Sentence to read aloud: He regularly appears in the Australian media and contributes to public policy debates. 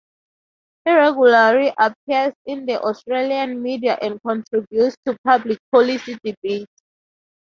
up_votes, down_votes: 0, 2